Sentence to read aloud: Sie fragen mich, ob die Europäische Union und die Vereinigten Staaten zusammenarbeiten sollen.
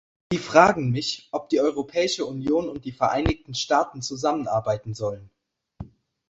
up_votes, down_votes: 0, 2